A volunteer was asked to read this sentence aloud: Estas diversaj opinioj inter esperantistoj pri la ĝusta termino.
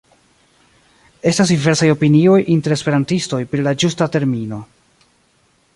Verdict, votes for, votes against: accepted, 2, 1